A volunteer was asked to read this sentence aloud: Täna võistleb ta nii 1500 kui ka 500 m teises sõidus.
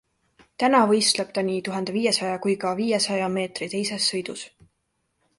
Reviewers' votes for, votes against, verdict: 0, 2, rejected